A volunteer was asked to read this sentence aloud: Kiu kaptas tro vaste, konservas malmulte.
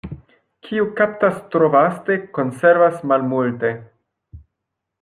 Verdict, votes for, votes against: accepted, 2, 0